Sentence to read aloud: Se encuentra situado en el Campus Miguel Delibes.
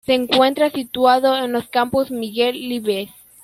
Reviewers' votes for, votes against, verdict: 0, 2, rejected